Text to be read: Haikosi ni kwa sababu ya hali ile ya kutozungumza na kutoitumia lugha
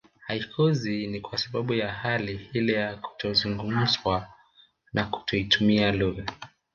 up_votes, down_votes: 0, 2